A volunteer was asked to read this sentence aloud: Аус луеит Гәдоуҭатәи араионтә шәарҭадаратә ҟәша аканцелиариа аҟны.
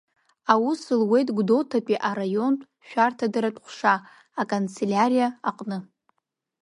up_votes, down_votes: 2, 1